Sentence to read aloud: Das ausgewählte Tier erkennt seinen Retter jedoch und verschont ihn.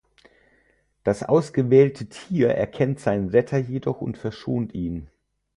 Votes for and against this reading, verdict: 6, 0, accepted